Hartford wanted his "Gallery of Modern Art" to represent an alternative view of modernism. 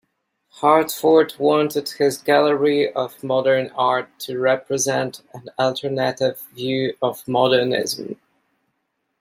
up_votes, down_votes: 0, 2